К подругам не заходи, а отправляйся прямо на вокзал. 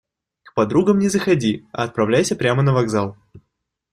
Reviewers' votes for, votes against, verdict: 2, 0, accepted